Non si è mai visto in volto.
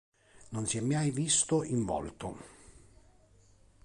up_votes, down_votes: 1, 2